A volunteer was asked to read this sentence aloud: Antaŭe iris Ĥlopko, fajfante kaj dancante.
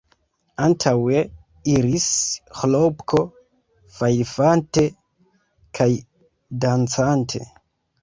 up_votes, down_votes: 0, 2